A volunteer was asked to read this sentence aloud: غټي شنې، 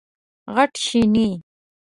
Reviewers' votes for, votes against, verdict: 2, 1, accepted